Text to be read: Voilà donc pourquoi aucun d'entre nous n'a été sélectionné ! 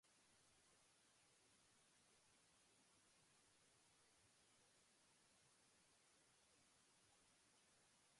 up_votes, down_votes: 0, 2